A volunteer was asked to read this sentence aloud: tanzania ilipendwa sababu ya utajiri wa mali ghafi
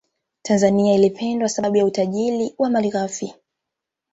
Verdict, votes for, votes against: accepted, 2, 1